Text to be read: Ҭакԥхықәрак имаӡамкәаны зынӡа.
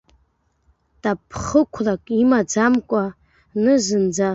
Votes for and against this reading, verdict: 0, 2, rejected